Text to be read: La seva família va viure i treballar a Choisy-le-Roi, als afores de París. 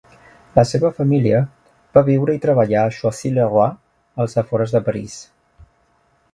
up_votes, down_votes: 2, 0